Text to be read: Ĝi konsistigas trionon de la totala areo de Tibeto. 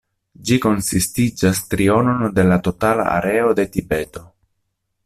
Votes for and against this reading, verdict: 1, 2, rejected